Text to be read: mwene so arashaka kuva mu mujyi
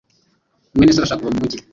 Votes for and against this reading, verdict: 0, 2, rejected